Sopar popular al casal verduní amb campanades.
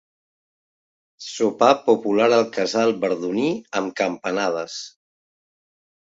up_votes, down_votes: 2, 0